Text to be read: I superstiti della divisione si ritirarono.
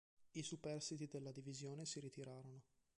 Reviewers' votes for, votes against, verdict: 1, 2, rejected